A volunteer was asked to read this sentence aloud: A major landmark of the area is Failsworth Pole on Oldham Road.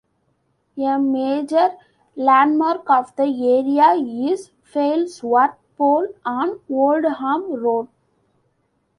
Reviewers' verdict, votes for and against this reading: accepted, 2, 1